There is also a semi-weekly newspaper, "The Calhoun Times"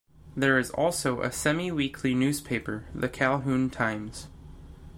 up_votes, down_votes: 2, 0